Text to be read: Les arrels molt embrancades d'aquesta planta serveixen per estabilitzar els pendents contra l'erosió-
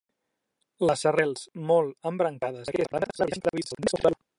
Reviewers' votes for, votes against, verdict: 0, 2, rejected